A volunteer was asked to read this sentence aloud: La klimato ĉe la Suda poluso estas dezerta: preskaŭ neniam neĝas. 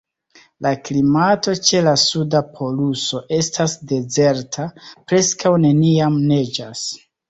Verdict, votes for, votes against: accepted, 2, 0